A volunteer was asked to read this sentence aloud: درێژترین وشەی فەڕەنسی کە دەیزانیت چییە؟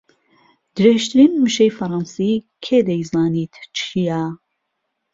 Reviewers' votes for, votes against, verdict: 1, 2, rejected